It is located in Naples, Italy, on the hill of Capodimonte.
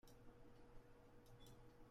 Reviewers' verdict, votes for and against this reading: rejected, 0, 2